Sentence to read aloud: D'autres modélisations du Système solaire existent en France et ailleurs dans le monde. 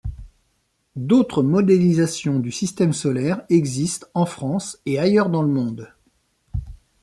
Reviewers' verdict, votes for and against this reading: accepted, 2, 0